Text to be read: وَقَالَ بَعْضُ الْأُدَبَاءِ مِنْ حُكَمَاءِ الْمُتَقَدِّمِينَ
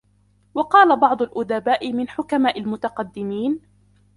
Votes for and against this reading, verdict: 0, 2, rejected